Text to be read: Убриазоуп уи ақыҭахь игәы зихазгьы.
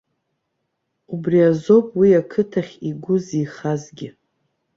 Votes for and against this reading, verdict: 1, 2, rejected